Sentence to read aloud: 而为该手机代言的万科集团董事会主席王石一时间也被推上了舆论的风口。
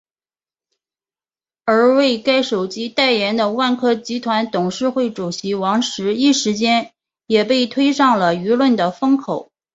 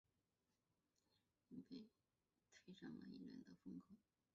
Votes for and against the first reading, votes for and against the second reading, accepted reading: 6, 1, 0, 2, first